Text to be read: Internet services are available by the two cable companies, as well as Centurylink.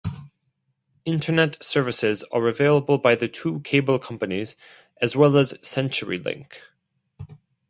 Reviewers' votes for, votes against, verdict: 4, 0, accepted